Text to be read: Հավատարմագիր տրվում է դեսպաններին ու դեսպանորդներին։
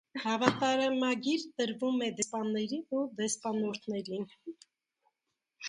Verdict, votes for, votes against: rejected, 1, 2